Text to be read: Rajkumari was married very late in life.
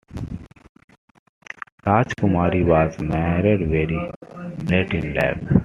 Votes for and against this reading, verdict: 2, 1, accepted